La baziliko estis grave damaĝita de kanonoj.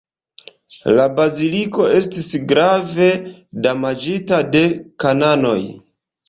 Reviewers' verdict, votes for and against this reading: accepted, 2, 0